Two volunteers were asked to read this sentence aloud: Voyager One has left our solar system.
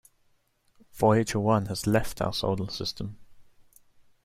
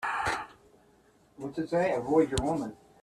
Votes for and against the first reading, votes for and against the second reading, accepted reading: 2, 0, 0, 2, first